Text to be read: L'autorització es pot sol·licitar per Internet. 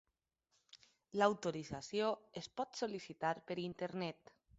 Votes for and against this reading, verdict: 1, 2, rejected